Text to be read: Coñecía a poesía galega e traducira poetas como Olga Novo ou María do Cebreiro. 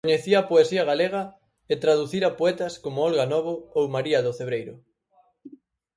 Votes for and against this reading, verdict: 2, 4, rejected